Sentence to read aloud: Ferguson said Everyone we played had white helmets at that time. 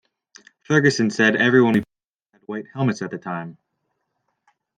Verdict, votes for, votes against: rejected, 0, 2